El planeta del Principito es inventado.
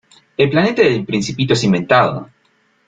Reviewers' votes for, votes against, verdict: 2, 0, accepted